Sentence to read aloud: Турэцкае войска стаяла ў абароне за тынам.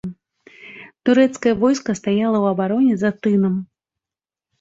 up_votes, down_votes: 2, 0